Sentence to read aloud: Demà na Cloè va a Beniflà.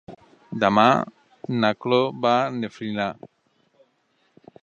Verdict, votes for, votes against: accepted, 2, 1